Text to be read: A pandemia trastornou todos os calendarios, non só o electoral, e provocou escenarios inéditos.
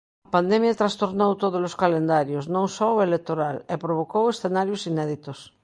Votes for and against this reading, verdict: 1, 2, rejected